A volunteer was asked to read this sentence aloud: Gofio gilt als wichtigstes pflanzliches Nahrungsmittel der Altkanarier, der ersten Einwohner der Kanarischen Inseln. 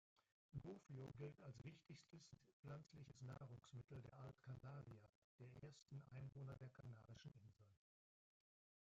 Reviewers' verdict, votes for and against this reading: rejected, 0, 2